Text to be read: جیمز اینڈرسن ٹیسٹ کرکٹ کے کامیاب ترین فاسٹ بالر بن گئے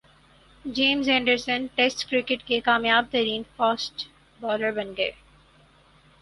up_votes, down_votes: 4, 2